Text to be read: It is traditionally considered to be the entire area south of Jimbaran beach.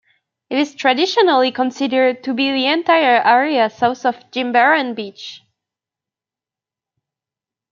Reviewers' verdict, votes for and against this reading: accepted, 2, 0